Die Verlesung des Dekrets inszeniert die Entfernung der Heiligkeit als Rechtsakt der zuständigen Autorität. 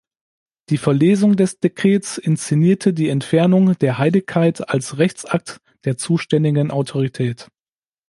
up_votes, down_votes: 2, 1